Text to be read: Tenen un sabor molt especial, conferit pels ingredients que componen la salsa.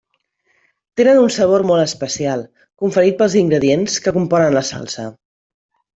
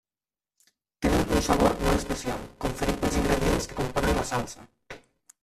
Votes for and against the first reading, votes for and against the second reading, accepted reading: 3, 1, 0, 2, first